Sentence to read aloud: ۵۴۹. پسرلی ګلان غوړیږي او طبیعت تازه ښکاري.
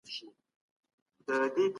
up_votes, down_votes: 0, 2